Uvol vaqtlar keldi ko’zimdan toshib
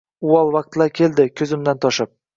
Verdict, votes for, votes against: accepted, 2, 0